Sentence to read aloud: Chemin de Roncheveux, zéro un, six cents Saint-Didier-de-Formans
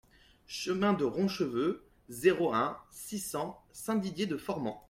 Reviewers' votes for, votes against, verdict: 2, 0, accepted